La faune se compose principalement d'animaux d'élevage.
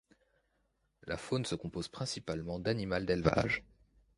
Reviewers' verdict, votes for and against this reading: rejected, 1, 2